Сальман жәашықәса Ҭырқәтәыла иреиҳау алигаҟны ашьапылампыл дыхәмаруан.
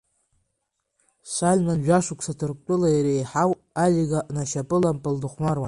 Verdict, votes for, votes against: rejected, 1, 2